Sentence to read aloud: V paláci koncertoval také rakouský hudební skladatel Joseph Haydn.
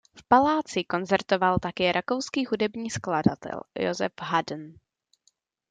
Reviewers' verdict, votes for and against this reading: rejected, 1, 2